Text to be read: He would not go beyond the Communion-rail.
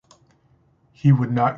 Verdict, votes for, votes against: rejected, 0, 2